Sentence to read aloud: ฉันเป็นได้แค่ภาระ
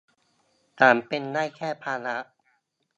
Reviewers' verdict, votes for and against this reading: rejected, 1, 2